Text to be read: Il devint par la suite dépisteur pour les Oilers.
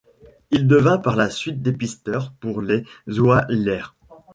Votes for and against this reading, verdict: 1, 2, rejected